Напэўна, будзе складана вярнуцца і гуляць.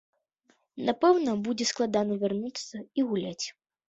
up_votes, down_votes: 2, 0